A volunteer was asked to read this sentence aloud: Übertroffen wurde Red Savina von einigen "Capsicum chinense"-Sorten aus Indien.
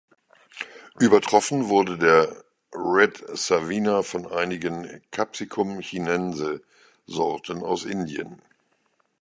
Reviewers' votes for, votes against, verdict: 0, 2, rejected